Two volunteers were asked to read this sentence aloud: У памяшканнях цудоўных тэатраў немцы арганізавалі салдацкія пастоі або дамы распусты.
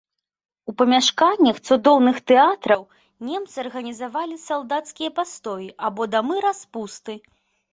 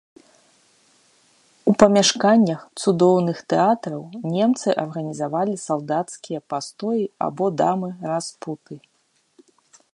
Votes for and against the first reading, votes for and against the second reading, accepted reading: 3, 0, 0, 2, first